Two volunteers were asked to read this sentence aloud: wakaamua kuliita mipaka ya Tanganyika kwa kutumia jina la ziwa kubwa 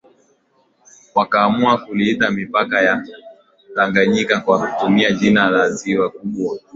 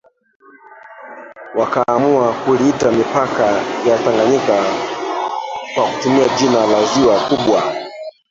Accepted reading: first